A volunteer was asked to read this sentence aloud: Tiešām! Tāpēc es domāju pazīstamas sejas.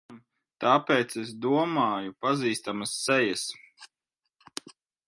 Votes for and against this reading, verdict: 1, 2, rejected